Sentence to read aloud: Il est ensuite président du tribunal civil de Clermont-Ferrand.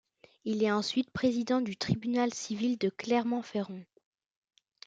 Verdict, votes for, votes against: accepted, 2, 0